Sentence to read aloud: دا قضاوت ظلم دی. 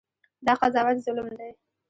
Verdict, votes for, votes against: rejected, 1, 2